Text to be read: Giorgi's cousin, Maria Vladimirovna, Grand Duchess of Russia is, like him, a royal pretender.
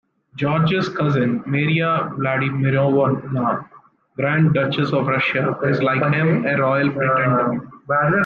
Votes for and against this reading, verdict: 2, 1, accepted